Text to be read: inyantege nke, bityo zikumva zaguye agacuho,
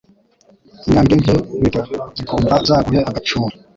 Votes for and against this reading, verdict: 0, 2, rejected